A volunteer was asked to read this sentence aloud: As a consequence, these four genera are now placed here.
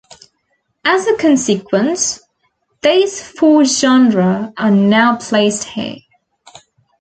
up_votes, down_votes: 2, 0